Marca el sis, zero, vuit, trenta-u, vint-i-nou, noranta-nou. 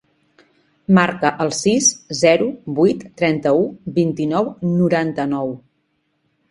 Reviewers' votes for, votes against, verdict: 3, 0, accepted